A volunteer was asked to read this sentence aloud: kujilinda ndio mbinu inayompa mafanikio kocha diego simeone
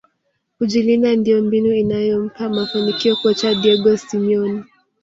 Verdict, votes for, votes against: rejected, 0, 2